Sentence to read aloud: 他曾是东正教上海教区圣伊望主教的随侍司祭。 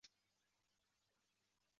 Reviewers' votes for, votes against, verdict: 1, 2, rejected